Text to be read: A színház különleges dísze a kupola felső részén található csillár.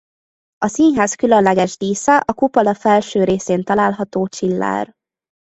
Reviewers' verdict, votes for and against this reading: accepted, 2, 0